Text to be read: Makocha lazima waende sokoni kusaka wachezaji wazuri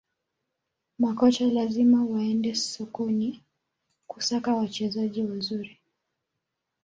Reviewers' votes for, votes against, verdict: 2, 3, rejected